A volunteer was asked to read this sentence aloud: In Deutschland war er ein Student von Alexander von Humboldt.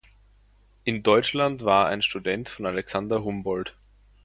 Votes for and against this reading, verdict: 0, 2, rejected